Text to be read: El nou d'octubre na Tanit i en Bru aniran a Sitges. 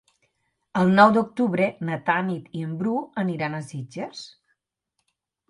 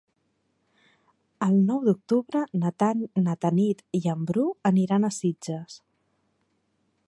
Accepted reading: first